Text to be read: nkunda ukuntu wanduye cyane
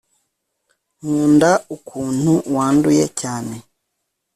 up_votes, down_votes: 2, 0